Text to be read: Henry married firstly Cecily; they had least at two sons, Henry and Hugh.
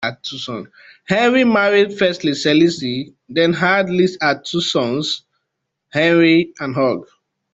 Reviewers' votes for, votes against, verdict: 0, 2, rejected